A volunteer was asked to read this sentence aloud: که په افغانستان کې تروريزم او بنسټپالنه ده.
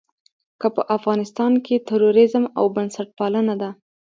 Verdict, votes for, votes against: accepted, 3, 0